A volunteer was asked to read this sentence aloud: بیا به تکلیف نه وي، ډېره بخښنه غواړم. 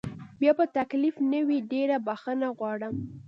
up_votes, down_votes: 2, 0